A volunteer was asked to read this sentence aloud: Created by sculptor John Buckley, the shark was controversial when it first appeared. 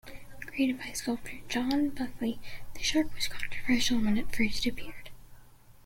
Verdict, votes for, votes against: accepted, 2, 0